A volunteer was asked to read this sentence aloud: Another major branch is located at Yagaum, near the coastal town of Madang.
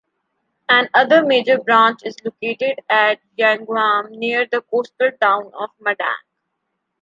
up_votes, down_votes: 2, 0